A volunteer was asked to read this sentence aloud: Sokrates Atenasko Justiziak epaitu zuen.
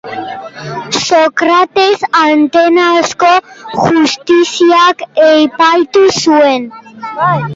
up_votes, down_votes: 0, 2